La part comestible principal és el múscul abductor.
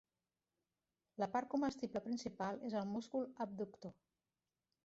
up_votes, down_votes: 1, 2